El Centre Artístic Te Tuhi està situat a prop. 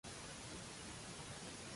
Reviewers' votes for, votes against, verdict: 0, 2, rejected